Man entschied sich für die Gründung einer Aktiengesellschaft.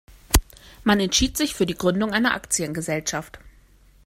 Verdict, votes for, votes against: accepted, 2, 0